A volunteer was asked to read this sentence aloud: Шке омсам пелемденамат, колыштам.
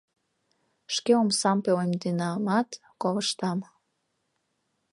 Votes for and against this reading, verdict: 0, 2, rejected